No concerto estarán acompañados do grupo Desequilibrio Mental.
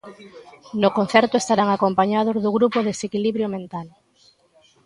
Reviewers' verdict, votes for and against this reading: accepted, 2, 0